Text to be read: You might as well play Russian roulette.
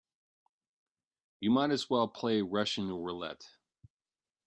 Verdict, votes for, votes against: accepted, 2, 0